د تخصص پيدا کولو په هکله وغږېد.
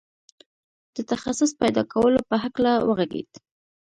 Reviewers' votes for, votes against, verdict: 2, 0, accepted